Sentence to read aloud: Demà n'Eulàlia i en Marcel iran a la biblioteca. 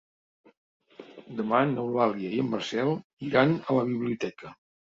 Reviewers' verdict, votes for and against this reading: accepted, 2, 0